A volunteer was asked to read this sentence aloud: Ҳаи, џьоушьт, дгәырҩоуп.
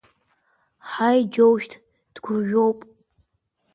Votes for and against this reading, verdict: 3, 0, accepted